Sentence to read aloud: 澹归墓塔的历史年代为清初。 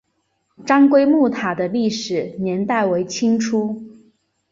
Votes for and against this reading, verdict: 2, 1, accepted